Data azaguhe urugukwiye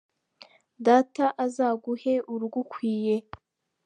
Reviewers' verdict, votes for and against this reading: accepted, 2, 0